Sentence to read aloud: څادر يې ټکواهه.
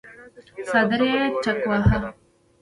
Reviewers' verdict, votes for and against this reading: accepted, 2, 0